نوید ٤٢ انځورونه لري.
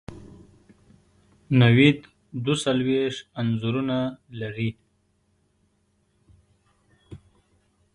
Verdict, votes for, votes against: rejected, 0, 2